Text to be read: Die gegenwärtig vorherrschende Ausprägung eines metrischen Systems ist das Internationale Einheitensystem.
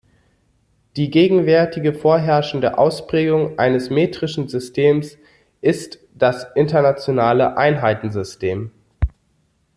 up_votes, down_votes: 0, 2